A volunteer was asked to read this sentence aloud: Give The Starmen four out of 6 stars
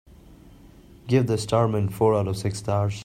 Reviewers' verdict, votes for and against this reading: rejected, 0, 2